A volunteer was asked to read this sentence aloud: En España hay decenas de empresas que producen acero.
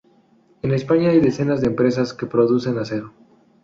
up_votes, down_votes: 2, 0